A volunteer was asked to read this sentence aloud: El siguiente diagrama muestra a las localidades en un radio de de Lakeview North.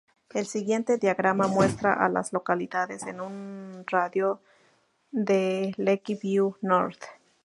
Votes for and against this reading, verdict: 2, 0, accepted